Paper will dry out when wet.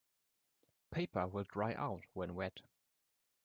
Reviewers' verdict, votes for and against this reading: accepted, 2, 0